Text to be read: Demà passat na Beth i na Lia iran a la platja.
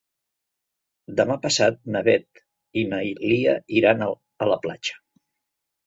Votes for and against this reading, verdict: 0, 2, rejected